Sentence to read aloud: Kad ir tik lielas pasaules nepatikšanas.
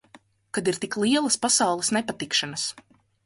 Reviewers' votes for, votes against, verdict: 6, 0, accepted